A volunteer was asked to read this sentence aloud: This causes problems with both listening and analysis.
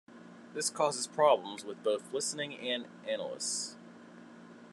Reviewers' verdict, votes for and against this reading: rejected, 1, 2